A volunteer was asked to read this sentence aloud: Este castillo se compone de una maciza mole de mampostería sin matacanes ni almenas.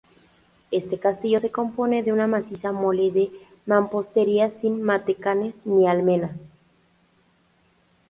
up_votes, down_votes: 0, 2